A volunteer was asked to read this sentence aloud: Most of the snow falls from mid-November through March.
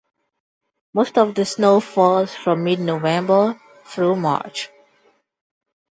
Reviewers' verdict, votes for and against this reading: accepted, 2, 0